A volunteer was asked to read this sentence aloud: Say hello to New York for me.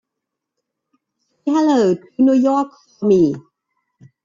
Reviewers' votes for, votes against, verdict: 0, 2, rejected